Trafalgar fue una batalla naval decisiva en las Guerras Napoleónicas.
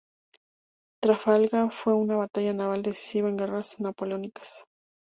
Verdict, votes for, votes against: rejected, 0, 2